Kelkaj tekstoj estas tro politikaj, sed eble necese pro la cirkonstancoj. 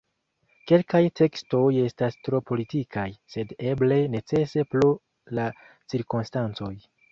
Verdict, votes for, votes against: accepted, 4, 3